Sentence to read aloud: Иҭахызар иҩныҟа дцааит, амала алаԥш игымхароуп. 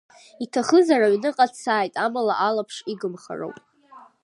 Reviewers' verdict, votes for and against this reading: rejected, 1, 2